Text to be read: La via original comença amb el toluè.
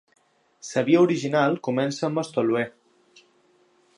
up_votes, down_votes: 2, 0